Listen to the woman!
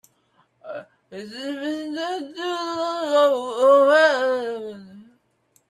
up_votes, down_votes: 0, 2